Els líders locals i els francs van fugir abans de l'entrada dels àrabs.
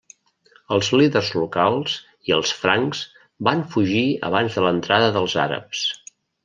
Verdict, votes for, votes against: accepted, 3, 0